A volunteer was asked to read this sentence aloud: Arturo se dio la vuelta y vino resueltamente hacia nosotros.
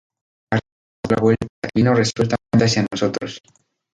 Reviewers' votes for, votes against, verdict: 0, 2, rejected